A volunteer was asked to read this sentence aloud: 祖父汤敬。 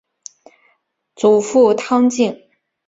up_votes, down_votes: 3, 1